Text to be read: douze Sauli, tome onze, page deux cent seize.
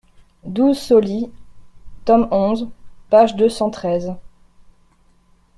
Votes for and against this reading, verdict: 0, 2, rejected